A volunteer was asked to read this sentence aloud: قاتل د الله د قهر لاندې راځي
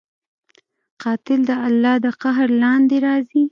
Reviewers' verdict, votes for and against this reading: accepted, 2, 0